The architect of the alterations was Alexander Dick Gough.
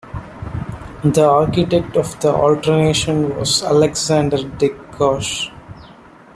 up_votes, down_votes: 1, 2